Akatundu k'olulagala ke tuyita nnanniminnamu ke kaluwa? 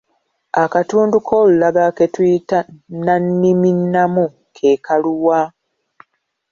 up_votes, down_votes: 2, 0